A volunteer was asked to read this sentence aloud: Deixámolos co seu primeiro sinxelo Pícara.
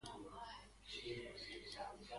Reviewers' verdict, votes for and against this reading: rejected, 0, 2